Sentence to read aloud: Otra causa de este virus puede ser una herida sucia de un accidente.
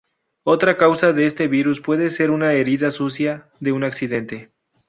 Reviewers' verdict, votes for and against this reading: rejected, 0, 2